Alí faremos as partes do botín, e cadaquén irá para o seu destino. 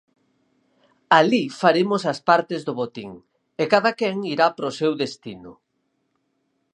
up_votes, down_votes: 4, 0